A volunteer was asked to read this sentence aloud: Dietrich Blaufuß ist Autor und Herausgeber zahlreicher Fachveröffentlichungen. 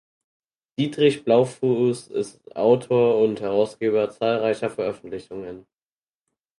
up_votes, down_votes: 0, 4